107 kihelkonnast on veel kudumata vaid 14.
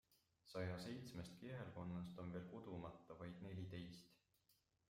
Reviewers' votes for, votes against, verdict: 0, 2, rejected